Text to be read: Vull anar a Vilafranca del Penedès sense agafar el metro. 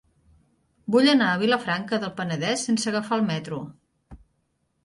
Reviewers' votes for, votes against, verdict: 3, 0, accepted